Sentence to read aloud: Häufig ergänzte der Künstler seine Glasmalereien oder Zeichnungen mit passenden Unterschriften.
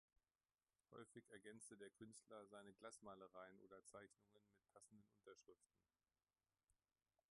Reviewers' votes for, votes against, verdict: 0, 2, rejected